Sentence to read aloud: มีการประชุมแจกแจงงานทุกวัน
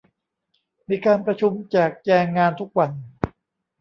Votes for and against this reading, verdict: 2, 0, accepted